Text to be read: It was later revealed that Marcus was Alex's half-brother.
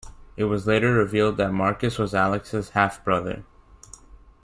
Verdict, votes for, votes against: accepted, 2, 0